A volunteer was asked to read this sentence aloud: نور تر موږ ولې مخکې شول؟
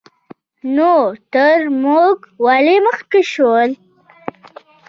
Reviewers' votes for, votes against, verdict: 1, 2, rejected